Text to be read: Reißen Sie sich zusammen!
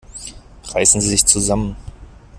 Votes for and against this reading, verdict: 2, 0, accepted